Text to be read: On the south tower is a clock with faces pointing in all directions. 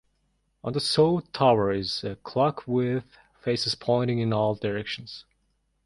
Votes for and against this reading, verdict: 2, 1, accepted